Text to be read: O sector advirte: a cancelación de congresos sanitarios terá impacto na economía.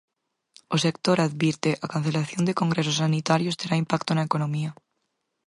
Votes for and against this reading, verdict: 4, 0, accepted